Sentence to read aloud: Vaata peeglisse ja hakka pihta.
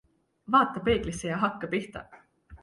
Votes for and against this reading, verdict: 2, 0, accepted